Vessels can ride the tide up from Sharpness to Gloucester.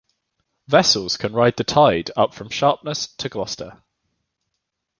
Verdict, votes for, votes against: accepted, 2, 0